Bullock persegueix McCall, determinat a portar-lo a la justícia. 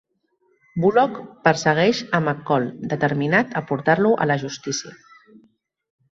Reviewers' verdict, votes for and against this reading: rejected, 1, 2